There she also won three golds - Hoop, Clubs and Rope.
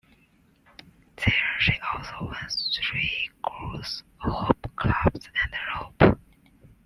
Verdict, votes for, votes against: accepted, 2, 0